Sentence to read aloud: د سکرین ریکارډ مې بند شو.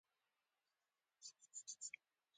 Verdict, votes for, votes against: rejected, 1, 2